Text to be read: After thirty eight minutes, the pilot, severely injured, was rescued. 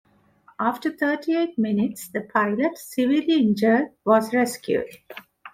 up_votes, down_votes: 2, 0